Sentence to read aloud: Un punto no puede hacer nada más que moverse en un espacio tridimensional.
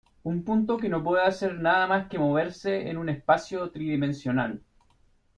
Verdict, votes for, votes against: accepted, 2, 1